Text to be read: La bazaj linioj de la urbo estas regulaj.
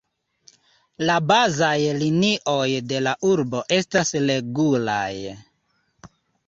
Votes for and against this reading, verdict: 2, 0, accepted